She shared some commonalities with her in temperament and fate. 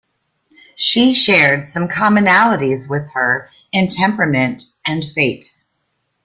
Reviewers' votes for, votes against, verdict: 2, 0, accepted